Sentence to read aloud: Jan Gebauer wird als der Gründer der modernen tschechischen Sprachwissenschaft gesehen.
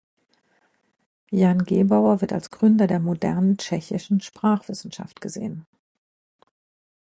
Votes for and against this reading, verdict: 0, 2, rejected